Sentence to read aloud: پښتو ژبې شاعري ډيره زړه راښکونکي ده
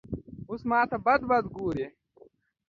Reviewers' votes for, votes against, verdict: 0, 2, rejected